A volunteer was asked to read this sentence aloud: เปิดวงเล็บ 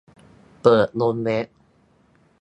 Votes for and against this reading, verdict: 0, 2, rejected